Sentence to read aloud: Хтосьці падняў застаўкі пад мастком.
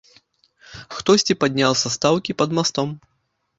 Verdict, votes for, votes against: rejected, 0, 2